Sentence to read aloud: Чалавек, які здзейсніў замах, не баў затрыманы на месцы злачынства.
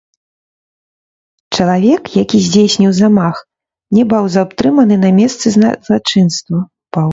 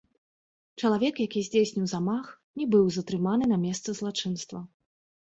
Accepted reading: second